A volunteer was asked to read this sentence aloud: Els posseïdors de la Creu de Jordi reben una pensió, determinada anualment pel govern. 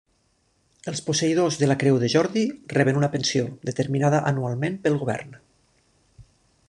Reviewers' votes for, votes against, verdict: 3, 0, accepted